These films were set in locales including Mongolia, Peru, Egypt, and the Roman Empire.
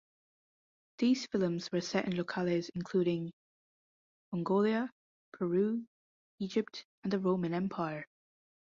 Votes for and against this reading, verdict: 1, 2, rejected